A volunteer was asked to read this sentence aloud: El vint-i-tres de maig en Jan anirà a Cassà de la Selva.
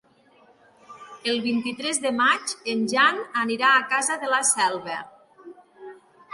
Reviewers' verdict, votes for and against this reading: rejected, 1, 2